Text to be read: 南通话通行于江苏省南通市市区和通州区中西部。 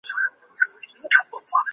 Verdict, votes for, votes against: rejected, 0, 5